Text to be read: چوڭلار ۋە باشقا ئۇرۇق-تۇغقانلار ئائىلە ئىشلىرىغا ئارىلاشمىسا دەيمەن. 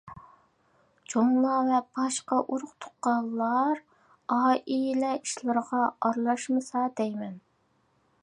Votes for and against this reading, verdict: 2, 0, accepted